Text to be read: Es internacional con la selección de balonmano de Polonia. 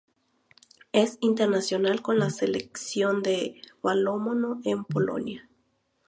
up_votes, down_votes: 0, 2